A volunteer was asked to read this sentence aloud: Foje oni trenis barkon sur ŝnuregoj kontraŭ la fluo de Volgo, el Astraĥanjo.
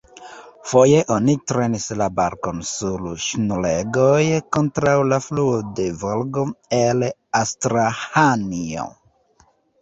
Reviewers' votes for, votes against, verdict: 2, 0, accepted